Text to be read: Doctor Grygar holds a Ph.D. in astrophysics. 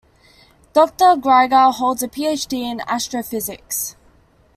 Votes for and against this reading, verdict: 2, 0, accepted